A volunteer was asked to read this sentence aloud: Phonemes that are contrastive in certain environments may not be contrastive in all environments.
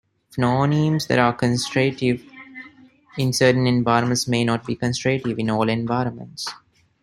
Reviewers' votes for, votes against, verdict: 1, 2, rejected